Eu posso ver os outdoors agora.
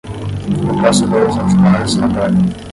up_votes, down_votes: 5, 5